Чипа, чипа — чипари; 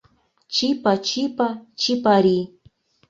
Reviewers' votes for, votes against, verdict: 2, 0, accepted